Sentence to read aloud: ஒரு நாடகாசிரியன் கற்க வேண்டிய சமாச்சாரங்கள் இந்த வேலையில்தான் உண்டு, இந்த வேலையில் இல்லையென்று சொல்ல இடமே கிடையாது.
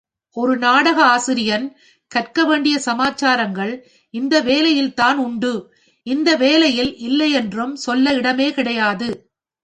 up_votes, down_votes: 3, 0